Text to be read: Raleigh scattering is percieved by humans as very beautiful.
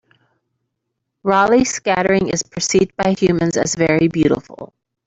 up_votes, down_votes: 2, 1